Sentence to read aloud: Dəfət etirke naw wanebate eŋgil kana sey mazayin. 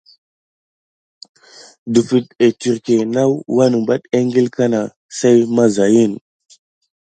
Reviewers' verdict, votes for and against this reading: accepted, 2, 0